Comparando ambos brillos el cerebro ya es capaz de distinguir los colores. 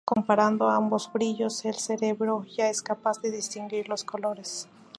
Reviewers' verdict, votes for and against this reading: accepted, 2, 0